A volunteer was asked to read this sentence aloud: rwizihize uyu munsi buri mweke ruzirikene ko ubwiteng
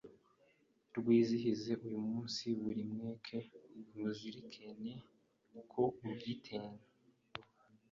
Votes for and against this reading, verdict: 1, 2, rejected